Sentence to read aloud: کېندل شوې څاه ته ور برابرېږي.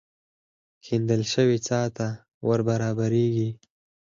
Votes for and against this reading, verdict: 4, 2, accepted